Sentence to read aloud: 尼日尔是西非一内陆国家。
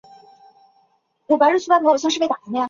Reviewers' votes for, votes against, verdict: 0, 3, rejected